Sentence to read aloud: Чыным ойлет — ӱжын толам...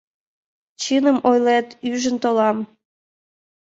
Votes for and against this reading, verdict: 2, 3, rejected